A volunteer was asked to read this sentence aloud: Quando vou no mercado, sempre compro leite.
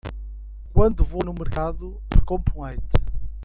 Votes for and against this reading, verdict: 0, 2, rejected